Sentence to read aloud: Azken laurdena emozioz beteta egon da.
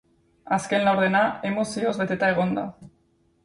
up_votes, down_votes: 4, 0